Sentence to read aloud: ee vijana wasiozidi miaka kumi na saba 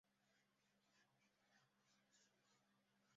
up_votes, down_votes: 0, 2